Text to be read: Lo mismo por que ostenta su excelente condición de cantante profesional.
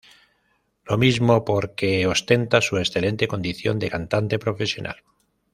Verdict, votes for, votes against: accepted, 2, 0